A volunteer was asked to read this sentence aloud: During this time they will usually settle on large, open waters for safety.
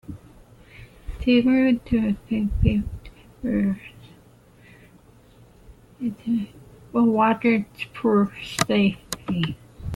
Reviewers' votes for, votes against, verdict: 0, 2, rejected